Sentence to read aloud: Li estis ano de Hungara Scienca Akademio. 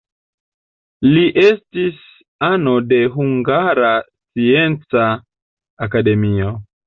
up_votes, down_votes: 2, 0